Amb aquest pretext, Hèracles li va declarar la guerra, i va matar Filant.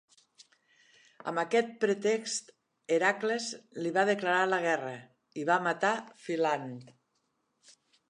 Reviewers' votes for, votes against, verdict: 1, 2, rejected